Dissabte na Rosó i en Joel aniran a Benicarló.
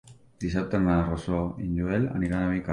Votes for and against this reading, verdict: 1, 3, rejected